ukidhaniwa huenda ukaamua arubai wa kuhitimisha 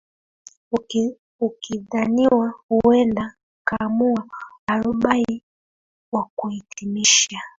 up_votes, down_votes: 0, 2